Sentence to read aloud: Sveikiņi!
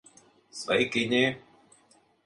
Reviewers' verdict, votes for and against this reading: accepted, 2, 0